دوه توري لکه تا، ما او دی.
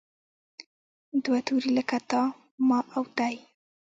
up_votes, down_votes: 1, 2